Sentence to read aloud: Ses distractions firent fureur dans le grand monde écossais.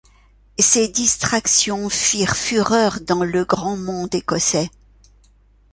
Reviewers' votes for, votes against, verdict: 2, 1, accepted